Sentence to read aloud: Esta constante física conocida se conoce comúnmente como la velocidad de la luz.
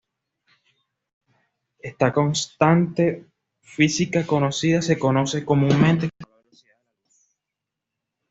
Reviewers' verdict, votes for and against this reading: rejected, 1, 2